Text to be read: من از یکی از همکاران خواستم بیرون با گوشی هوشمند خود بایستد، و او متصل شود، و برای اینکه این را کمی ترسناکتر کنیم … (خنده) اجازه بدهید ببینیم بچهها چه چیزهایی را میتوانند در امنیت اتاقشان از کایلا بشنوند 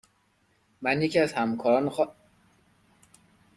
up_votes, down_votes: 0, 2